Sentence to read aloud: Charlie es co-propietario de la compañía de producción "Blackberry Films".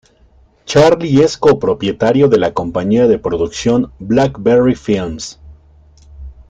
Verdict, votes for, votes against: accepted, 2, 0